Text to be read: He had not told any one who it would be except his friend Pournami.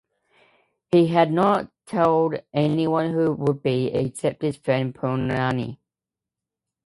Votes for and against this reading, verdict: 1, 2, rejected